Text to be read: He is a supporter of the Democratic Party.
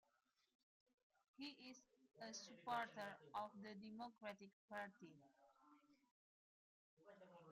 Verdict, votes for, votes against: rejected, 1, 2